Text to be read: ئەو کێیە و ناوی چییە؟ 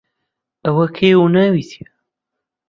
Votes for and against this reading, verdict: 0, 2, rejected